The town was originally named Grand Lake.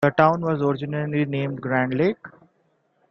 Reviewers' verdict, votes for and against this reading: accepted, 2, 0